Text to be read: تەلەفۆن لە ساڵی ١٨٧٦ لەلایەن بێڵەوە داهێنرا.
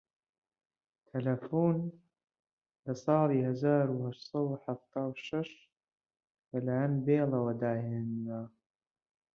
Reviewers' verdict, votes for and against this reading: rejected, 0, 2